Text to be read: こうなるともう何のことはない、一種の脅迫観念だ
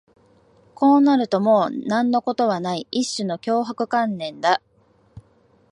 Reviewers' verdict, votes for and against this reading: accepted, 2, 0